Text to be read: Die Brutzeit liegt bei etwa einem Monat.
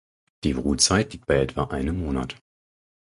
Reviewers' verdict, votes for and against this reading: rejected, 2, 4